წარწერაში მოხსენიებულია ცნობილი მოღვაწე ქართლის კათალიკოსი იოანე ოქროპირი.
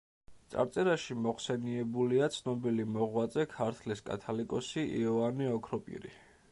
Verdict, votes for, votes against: accepted, 2, 0